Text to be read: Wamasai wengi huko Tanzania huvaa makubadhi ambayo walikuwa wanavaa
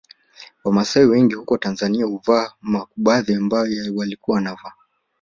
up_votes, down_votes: 2, 0